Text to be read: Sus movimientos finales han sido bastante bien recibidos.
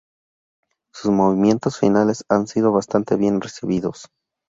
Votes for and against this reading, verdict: 2, 0, accepted